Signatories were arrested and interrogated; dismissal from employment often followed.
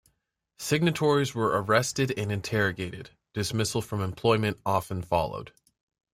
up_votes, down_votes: 2, 0